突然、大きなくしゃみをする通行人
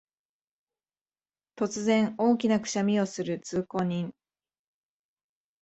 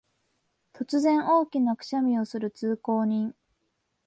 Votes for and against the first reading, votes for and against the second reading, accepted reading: 7, 1, 0, 2, first